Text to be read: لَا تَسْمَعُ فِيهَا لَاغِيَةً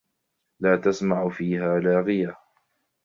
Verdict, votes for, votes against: accepted, 2, 0